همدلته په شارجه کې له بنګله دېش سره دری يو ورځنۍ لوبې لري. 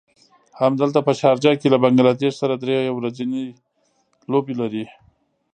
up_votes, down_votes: 1, 2